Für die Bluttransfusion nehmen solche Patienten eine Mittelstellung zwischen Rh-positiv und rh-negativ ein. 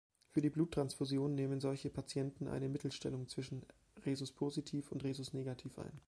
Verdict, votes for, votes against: rejected, 1, 2